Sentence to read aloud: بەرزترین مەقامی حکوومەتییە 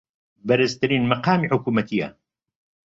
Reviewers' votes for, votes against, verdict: 2, 0, accepted